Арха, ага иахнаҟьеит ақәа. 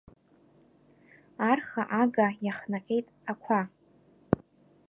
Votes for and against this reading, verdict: 2, 0, accepted